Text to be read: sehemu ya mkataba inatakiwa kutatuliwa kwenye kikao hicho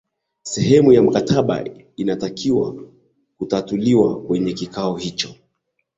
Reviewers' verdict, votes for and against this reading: accepted, 7, 0